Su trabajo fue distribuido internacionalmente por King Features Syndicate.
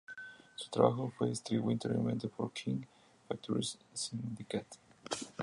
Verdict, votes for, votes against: rejected, 0, 2